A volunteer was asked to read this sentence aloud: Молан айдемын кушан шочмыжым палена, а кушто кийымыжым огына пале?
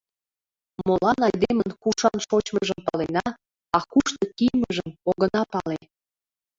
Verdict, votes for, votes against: accepted, 2, 0